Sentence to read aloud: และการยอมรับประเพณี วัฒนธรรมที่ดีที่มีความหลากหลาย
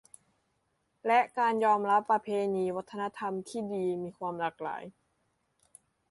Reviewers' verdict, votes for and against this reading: rejected, 0, 2